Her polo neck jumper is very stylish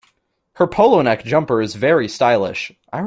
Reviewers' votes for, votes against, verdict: 0, 2, rejected